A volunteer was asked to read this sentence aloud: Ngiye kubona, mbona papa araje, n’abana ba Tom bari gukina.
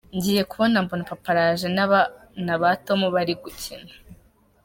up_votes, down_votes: 2, 0